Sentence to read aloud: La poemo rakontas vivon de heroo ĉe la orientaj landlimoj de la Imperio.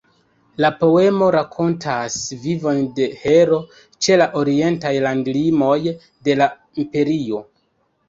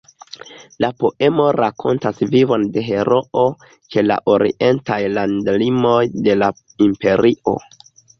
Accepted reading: second